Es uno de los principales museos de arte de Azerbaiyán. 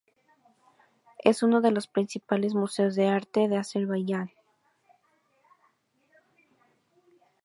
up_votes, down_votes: 2, 0